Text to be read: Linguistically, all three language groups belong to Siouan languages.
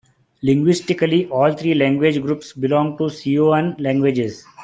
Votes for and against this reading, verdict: 2, 1, accepted